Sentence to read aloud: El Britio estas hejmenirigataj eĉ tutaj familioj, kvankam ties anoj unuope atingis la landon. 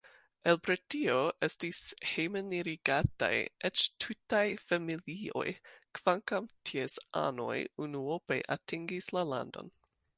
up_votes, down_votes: 1, 2